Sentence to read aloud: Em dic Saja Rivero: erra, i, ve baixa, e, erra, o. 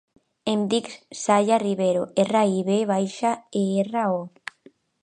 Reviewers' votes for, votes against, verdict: 0, 2, rejected